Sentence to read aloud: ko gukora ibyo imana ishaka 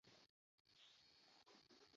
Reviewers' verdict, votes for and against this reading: rejected, 0, 2